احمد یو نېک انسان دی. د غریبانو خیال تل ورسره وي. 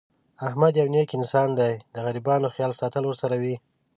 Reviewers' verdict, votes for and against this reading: rejected, 1, 2